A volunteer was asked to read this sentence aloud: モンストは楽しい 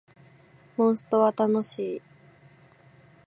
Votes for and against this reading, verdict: 2, 0, accepted